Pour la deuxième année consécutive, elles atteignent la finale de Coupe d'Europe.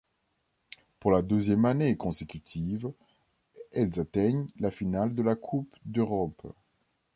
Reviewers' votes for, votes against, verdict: 2, 1, accepted